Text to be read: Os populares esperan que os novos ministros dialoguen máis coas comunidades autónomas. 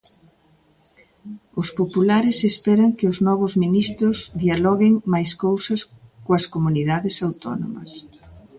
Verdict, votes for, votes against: rejected, 0, 2